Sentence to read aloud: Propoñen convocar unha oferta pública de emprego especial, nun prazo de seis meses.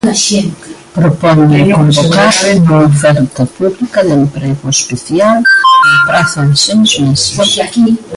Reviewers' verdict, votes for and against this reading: rejected, 0, 2